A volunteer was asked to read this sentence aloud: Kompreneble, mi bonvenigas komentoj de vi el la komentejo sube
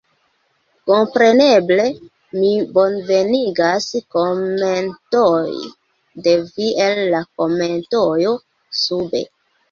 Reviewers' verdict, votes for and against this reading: rejected, 0, 2